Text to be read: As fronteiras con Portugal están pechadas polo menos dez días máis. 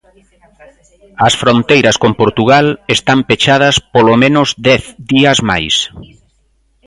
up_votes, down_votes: 3, 0